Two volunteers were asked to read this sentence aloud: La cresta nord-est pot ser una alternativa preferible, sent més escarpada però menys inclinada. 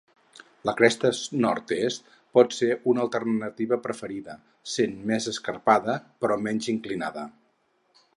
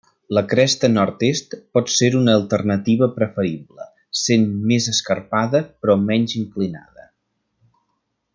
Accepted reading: second